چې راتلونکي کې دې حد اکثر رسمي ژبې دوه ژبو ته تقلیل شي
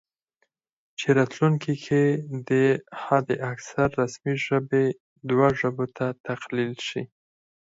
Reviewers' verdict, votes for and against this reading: rejected, 2, 4